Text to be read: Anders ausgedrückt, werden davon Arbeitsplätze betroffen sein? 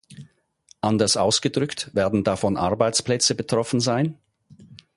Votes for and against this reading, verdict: 4, 0, accepted